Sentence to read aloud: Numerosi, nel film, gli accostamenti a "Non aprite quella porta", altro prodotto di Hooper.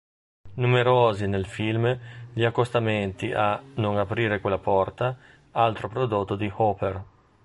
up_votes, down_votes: 0, 3